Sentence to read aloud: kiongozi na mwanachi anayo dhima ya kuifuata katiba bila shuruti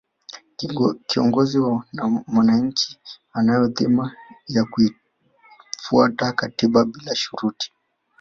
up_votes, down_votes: 0, 2